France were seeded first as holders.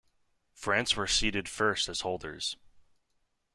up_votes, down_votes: 2, 0